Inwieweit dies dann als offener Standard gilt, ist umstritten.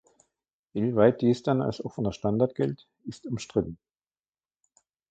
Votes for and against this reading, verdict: 1, 2, rejected